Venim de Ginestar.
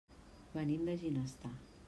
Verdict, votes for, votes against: accepted, 3, 0